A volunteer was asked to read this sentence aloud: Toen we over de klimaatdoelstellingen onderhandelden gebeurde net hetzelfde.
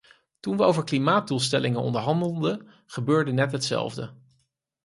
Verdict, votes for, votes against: rejected, 0, 4